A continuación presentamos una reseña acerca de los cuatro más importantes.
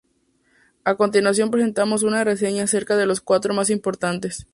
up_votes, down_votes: 2, 0